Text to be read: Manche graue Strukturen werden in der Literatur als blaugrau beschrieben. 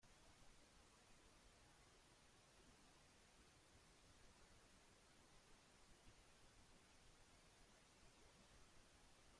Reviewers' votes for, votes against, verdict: 0, 2, rejected